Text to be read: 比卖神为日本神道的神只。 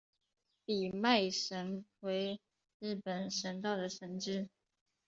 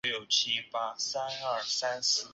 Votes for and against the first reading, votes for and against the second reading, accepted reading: 2, 0, 0, 5, first